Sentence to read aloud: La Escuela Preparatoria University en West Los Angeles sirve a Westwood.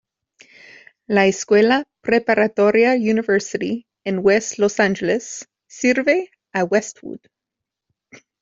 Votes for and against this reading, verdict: 2, 0, accepted